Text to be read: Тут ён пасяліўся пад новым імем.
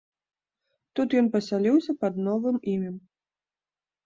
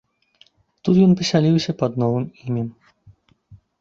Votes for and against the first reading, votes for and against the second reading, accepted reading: 3, 0, 1, 2, first